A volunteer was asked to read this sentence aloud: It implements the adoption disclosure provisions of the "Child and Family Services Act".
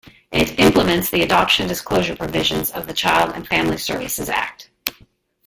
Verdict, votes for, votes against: rejected, 1, 2